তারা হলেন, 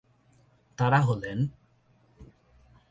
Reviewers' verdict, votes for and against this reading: rejected, 0, 2